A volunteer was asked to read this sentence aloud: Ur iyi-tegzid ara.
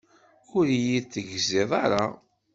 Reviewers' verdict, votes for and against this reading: accepted, 2, 0